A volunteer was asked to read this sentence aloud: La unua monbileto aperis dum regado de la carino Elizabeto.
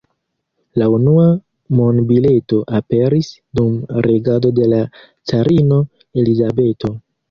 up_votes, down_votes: 0, 2